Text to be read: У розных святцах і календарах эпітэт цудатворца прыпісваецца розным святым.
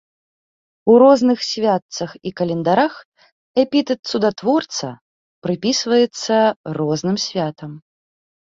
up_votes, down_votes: 1, 2